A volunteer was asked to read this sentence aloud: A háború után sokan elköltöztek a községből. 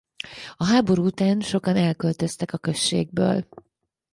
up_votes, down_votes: 4, 0